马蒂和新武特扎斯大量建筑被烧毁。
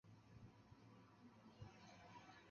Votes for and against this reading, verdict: 0, 2, rejected